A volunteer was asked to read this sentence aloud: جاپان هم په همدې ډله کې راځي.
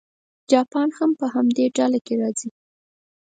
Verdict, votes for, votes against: accepted, 4, 2